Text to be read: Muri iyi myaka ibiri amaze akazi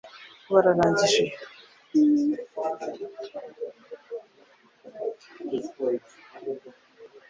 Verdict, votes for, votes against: rejected, 1, 2